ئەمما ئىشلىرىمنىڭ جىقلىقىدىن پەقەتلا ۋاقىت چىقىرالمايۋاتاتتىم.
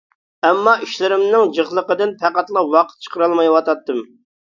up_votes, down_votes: 2, 0